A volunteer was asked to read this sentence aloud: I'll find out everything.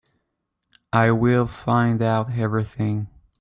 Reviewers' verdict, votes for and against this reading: rejected, 1, 2